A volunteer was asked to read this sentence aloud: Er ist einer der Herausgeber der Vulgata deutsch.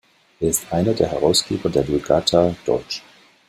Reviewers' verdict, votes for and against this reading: accepted, 2, 0